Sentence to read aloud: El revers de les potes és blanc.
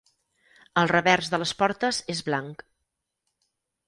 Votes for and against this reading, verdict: 0, 4, rejected